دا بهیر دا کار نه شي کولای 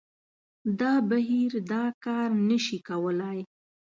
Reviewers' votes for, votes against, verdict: 2, 0, accepted